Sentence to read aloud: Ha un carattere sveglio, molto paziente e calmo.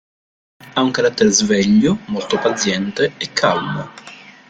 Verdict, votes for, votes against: accepted, 2, 0